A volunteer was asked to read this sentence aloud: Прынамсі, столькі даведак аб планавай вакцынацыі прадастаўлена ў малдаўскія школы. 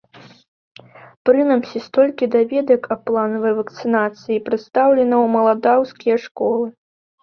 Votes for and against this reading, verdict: 0, 2, rejected